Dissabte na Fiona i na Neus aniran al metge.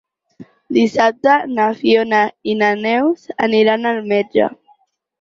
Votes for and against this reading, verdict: 6, 0, accepted